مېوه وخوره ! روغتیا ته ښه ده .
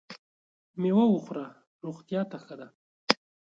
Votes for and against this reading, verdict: 2, 0, accepted